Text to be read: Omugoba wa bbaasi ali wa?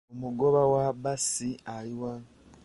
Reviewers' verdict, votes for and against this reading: rejected, 1, 2